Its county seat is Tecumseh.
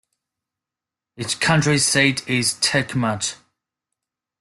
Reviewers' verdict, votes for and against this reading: rejected, 0, 2